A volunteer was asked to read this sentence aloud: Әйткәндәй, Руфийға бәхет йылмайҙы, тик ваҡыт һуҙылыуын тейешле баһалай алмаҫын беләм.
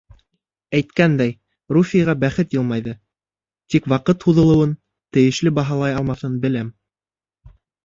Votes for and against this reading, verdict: 1, 2, rejected